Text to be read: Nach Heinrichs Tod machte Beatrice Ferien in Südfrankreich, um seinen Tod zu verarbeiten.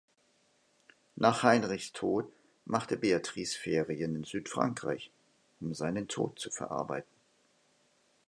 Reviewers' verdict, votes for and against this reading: accepted, 2, 0